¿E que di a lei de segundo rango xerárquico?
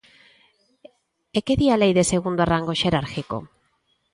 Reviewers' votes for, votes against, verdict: 0, 2, rejected